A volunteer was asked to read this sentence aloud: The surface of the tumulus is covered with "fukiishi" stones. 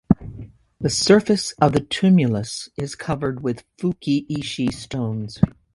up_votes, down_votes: 2, 0